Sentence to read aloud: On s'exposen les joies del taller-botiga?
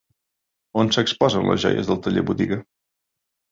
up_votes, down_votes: 2, 0